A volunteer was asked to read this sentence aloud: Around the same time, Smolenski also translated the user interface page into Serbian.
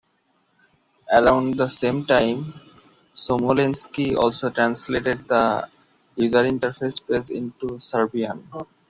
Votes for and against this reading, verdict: 1, 2, rejected